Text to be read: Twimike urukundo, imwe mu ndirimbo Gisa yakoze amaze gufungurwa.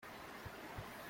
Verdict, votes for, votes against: rejected, 0, 2